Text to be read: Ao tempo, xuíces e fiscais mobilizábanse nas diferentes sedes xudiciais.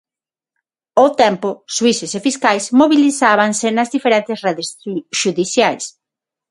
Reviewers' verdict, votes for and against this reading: rejected, 0, 6